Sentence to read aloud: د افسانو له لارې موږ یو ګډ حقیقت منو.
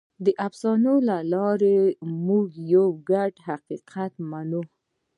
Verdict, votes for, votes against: rejected, 1, 2